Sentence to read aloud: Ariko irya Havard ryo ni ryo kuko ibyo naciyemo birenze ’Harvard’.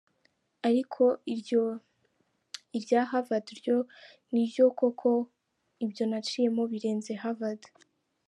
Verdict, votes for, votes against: rejected, 0, 2